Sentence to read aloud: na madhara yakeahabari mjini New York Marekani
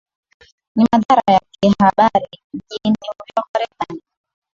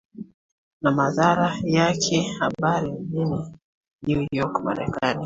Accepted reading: second